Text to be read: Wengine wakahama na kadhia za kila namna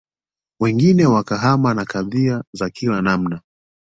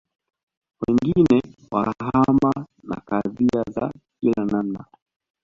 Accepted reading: first